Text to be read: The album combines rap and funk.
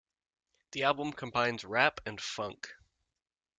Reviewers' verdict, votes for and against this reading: accepted, 2, 0